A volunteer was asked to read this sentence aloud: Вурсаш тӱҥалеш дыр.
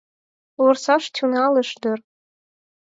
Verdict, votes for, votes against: rejected, 0, 4